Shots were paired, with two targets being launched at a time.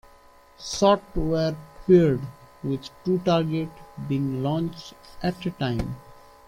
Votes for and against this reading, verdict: 2, 1, accepted